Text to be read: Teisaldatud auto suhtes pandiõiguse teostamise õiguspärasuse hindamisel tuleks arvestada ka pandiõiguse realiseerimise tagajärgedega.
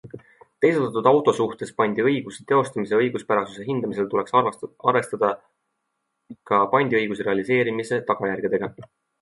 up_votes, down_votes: 2, 0